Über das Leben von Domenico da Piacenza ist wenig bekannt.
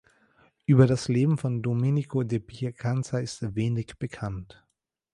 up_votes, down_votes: 2, 1